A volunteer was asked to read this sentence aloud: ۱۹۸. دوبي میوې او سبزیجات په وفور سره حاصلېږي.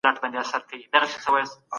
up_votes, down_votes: 0, 2